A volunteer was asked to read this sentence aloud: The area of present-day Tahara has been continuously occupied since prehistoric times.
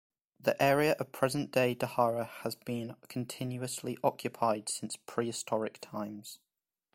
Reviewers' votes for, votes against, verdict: 2, 0, accepted